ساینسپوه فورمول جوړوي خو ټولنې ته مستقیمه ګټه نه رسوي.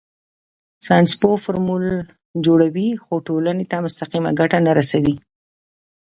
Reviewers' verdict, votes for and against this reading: accepted, 2, 1